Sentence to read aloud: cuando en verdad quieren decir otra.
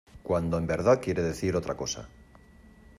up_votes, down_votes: 1, 2